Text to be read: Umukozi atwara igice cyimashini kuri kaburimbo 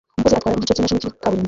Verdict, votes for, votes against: rejected, 0, 2